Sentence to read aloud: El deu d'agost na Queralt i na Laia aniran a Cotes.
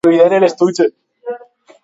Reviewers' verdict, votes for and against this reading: rejected, 0, 2